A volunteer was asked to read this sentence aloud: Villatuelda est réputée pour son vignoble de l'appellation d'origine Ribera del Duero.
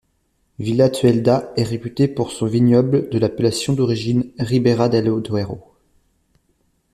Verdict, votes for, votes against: rejected, 1, 2